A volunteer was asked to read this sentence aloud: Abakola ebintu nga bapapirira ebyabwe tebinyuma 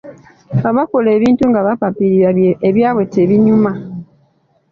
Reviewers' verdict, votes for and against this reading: accepted, 2, 0